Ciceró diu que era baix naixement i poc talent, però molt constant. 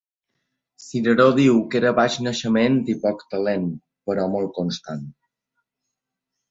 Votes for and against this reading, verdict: 1, 2, rejected